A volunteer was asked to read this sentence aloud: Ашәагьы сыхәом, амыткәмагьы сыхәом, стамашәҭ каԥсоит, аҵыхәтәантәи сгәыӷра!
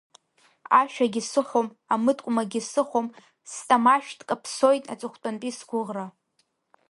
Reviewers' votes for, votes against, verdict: 2, 0, accepted